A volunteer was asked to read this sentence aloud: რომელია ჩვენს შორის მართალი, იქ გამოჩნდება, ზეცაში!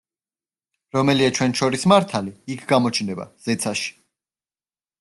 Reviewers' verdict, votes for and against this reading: rejected, 1, 2